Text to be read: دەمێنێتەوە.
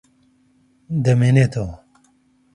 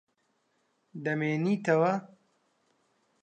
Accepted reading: first